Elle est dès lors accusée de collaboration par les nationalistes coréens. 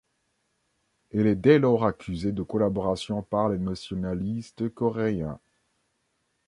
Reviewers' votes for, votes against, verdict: 2, 0, accepted